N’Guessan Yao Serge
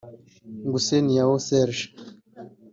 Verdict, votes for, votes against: rejected, 0, 2